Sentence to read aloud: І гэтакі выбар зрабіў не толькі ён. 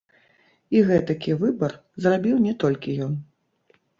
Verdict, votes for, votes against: rejected, 1, 2